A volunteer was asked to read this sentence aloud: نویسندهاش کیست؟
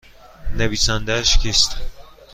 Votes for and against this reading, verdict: 2, 0, accepted